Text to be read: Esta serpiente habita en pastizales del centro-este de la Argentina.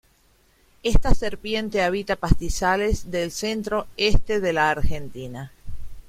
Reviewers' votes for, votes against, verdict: 0, 2, rejected